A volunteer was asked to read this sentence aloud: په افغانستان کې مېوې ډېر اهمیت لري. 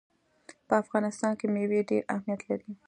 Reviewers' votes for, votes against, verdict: 2, 0, accepted